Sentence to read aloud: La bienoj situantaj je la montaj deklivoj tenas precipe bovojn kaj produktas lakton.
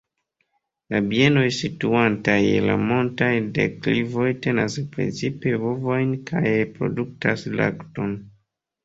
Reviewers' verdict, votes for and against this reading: accepted, 2, 0